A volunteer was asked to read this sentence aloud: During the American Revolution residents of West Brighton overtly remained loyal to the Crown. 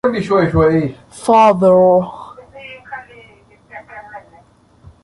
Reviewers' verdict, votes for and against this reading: rejected, 0, 2